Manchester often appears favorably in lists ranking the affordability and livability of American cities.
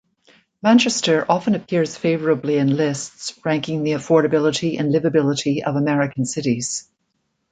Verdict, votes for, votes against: accepted, 2, 0